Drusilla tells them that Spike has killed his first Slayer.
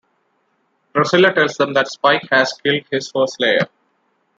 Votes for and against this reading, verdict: 2, 0, accepted